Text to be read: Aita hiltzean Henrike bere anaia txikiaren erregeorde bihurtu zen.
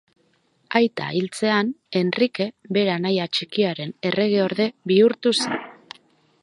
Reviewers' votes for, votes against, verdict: 2, 2, rejected